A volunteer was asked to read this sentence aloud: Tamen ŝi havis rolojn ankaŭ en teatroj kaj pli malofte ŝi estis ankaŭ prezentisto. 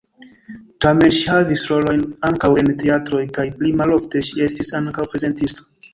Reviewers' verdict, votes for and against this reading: rejected, 2, 3